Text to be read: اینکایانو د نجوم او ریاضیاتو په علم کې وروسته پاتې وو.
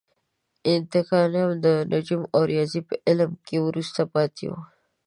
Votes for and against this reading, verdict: 0, 2, rejected